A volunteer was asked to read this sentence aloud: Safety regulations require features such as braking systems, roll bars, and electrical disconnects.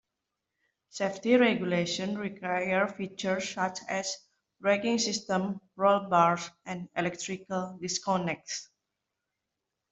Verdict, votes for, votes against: accepted, 2, 1